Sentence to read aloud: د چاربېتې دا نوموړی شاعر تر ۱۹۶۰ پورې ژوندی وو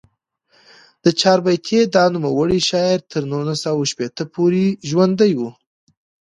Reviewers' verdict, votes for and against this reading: rejected, 0, 2